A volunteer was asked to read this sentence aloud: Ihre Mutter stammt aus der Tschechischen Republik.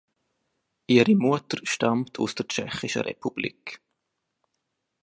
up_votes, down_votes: 3, 2